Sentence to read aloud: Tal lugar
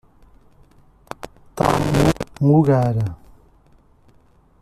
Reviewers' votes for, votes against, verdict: 0, 2, rejected